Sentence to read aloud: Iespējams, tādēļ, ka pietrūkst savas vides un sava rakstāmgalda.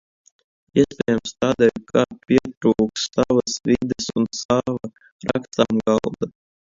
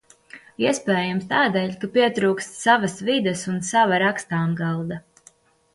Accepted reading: second